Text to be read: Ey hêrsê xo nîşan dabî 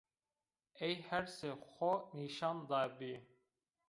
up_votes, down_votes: 0, 2